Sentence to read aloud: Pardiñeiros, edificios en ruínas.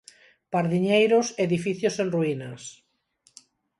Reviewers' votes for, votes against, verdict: 4, 0, accepted